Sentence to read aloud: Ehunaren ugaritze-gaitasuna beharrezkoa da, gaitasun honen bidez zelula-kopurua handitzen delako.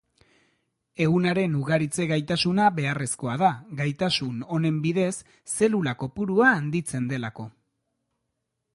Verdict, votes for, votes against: accepted, 2, 0